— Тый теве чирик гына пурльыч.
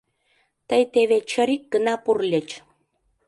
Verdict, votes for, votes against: rejected, 0, 2